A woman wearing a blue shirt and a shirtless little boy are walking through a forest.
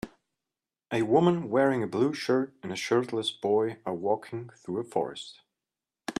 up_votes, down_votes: 0, 2